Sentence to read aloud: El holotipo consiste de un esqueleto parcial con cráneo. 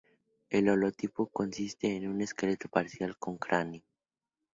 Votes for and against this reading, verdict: 2, 0, accepted